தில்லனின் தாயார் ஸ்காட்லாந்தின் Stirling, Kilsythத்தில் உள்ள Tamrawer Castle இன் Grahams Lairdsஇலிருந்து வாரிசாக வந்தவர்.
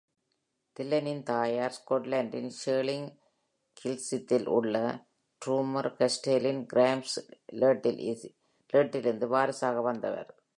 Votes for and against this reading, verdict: 0, 2, rejected